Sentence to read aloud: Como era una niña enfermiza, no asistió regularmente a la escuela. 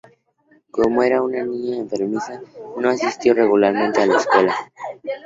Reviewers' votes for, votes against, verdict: 4, 0, accepted